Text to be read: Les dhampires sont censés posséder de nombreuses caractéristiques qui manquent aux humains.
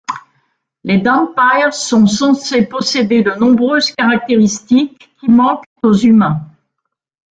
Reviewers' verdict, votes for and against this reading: rejected, 1, 2